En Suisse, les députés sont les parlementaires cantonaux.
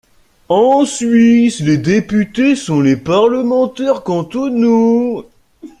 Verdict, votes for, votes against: rejected, 1, 2